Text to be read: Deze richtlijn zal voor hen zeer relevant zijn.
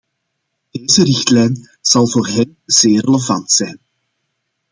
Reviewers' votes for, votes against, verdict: 2, 1, accepted